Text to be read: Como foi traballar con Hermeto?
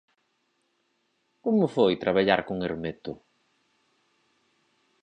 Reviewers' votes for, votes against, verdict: 4, 0, accepted